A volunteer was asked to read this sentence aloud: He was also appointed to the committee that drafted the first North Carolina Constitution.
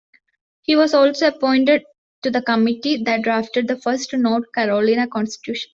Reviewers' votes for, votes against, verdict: 1, 2, rejected